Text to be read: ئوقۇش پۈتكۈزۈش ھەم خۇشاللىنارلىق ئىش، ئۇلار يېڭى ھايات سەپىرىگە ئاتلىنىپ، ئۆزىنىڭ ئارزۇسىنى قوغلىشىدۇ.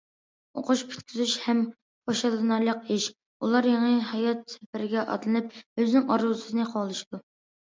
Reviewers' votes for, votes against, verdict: 2, 0, accepted